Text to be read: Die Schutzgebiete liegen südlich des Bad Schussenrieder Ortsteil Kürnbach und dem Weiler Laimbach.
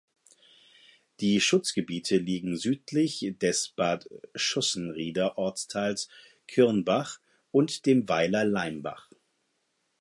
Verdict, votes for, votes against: rejected, 0, 4